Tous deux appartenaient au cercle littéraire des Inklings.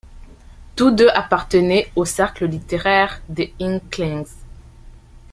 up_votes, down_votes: 2, 1